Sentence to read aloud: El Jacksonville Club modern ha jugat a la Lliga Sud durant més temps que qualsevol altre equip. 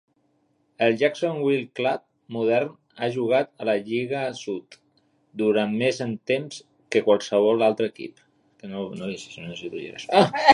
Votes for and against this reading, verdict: 0, 3, rejected